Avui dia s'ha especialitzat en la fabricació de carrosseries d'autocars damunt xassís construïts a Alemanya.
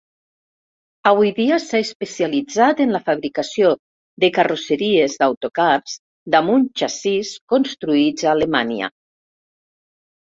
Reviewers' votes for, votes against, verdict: 0, 2, rejected